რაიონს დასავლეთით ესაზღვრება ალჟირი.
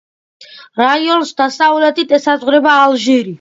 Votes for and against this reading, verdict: 2, 1, accepted